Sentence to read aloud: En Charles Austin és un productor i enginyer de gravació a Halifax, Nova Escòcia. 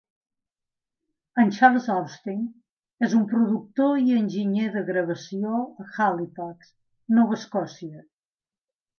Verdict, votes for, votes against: accepted, 2, 0